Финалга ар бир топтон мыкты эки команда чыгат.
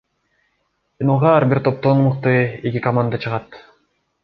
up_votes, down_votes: 2, 1